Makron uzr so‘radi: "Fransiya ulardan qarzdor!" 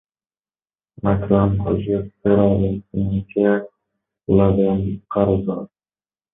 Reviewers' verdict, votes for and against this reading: rejected, 0, 2